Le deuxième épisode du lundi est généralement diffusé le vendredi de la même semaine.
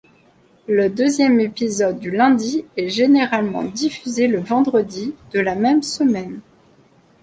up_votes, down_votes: 2, 0